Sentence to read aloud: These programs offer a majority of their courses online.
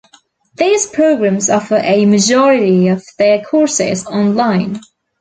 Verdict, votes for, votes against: accepted, 2, 0